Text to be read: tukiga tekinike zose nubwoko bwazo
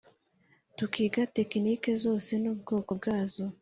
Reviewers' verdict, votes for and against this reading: accepted, 2, 0